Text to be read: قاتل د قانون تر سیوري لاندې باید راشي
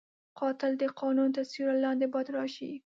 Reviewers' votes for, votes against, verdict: 4, 0, accepted